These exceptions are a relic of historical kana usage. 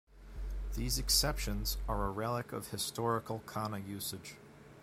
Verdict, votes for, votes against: accepted, 2, 0